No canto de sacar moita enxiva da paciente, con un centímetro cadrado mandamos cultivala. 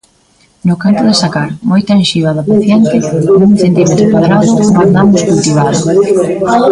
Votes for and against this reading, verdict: 0, 2, rejected